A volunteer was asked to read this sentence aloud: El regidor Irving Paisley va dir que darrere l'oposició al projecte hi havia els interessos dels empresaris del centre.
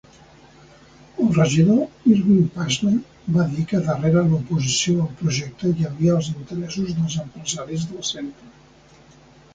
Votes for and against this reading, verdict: 1, 2, rejected